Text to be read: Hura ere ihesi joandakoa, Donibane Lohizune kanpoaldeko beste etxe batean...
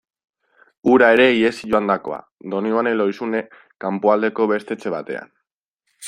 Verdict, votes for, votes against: accepted, 2, 0